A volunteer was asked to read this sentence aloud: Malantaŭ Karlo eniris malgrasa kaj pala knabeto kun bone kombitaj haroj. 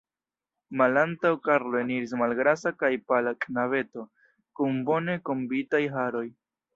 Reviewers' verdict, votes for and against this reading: rejected, 0, 2